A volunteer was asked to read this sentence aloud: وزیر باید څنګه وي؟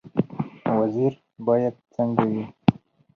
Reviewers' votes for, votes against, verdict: 2, 2, rejected